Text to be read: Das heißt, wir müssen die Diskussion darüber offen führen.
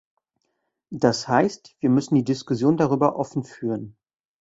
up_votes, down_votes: 2, 0